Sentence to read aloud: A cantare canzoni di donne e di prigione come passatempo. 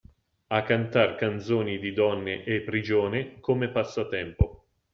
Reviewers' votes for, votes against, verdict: 0, 2, rejected